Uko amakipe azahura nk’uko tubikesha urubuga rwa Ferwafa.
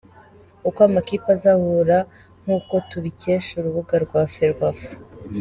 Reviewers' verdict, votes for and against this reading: accepted, 2, 0